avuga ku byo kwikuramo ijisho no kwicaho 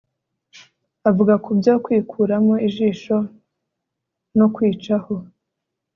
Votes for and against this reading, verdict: 3, 0, accepted